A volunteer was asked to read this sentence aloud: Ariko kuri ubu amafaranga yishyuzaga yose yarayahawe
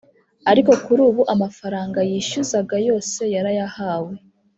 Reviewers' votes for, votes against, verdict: 3, 0, accepted